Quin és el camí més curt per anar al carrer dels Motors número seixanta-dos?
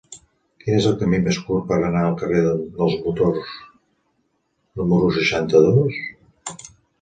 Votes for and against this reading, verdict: 0, 2, rejected